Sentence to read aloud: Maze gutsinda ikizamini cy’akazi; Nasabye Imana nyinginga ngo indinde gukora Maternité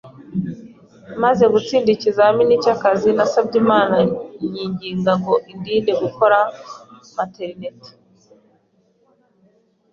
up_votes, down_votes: 2, 0